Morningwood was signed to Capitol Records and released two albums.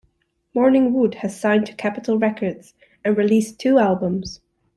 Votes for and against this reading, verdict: 0, 2, rejected